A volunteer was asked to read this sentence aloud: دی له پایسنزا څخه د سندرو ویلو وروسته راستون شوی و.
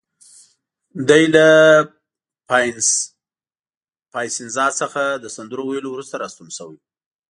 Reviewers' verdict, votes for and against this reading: rejected, 0, 2